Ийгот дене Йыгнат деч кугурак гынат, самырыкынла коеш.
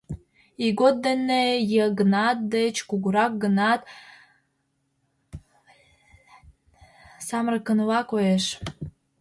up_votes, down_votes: 1, 2